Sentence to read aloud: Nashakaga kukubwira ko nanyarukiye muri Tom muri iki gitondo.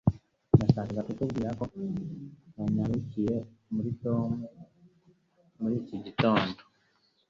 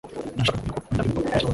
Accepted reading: first